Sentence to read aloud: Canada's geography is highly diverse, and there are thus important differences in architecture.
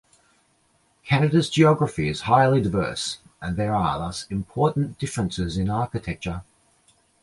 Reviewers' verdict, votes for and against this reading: accepted, 2, 0